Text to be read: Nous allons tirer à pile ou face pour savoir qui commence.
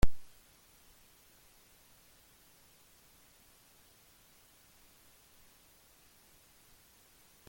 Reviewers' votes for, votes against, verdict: 0, 2, rejected